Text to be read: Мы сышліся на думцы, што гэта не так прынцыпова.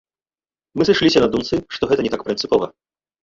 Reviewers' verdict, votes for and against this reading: rejected, 0, 2